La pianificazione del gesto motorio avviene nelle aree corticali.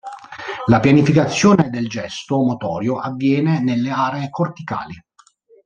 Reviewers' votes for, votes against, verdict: 2, 0, accepted